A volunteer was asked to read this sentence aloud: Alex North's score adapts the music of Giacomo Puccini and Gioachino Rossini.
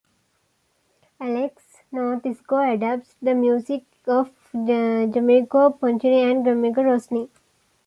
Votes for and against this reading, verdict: 1, 2, rejected